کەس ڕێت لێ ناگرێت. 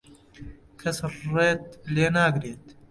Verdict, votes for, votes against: rejected, 0, 2